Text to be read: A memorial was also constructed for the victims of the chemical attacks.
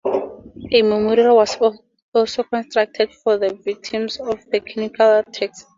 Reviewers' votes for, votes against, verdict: 0, 4, rejected